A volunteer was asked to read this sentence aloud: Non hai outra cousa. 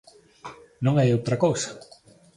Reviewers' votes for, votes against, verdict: 3, 0, accepted